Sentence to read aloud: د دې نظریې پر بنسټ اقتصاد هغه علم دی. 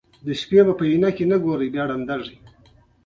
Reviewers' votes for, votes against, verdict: 2, 1, accepted